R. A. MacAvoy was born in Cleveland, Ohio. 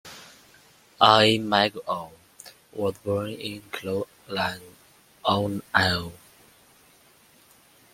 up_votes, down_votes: 0, 2